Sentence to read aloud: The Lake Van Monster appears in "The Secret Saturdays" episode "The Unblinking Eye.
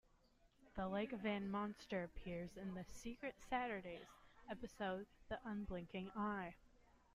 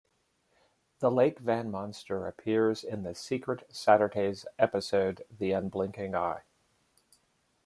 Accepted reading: second